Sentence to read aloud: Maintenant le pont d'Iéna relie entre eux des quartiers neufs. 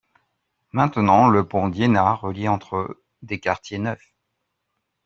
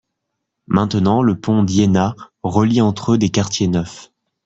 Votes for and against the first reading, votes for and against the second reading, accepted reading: 1, 2, 2, 0, second